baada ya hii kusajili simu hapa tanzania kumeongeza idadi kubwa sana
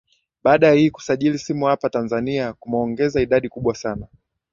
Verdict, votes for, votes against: accepted, 2, 1